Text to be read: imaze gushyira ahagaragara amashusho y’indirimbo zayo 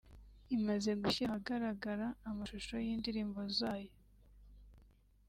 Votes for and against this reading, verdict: 2, 1, accepted